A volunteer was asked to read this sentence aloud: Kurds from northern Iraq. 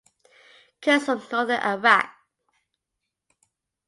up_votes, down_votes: 1, 2